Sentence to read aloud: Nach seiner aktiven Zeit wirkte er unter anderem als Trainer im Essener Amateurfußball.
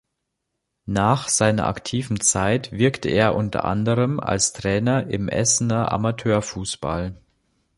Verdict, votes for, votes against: accepted, 3, 0